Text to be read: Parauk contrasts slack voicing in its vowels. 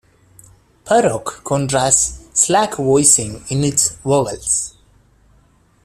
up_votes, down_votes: 2, 0